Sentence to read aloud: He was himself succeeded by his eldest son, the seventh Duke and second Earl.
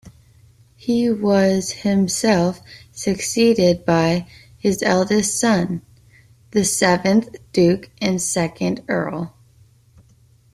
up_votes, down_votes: 2, 0